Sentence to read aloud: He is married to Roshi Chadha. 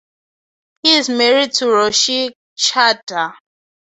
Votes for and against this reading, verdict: 2, 0, accepted